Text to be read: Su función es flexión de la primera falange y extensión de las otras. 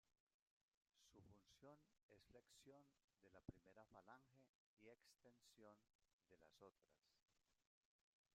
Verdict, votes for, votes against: rejected, 0, 2